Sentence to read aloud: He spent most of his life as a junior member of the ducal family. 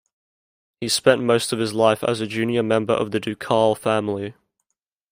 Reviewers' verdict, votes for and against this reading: accepted, 2, 0